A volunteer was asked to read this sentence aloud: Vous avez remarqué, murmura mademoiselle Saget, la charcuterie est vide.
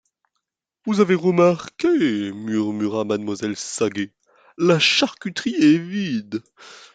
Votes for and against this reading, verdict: 1, 2, rejected